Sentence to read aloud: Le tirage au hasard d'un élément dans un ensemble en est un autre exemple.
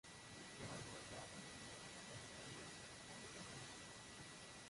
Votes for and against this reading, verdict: 0, 2, rejected